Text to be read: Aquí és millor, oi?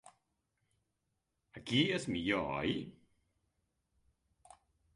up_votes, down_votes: 5, 0